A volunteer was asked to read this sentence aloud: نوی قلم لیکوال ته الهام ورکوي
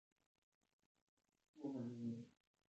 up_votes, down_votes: 0, 2